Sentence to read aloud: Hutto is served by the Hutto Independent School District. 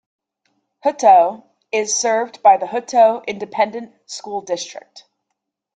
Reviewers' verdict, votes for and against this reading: accepted, 2, 0